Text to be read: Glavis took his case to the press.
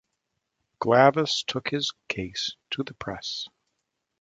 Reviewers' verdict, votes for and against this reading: accepted, 2, 0